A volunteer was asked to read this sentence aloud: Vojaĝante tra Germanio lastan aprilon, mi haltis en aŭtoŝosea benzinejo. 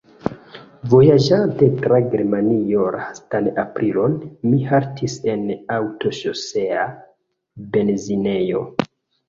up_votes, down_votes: 1, 2